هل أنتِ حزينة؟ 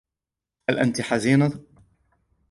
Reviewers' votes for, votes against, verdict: 2, 0, accepted